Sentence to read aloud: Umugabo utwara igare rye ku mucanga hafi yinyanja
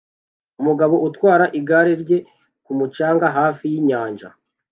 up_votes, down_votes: 2, 0